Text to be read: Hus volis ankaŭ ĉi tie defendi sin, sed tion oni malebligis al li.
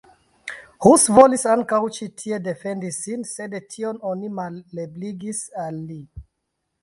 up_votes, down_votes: 1, 2